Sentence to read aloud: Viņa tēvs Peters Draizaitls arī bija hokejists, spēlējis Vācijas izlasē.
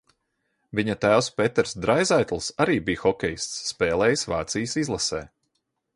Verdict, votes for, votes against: accepted, 2, 0